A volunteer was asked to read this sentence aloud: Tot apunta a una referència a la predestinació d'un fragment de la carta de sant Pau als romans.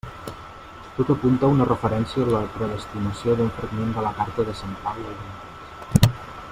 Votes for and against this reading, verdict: 0, 2, rejected